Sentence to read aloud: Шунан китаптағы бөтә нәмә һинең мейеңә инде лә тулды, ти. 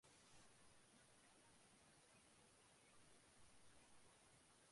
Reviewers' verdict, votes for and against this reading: rejected, 0, 2